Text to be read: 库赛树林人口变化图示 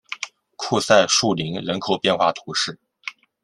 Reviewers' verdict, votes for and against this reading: accepted, 2, 0